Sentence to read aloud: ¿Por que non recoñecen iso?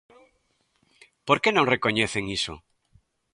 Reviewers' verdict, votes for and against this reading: accepted, 2, 0